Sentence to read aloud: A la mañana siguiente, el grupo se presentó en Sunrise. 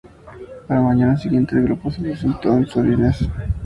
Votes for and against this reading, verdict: 0, 2, rejected